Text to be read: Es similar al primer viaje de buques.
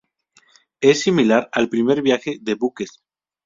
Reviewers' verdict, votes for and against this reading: accepted, 4, 0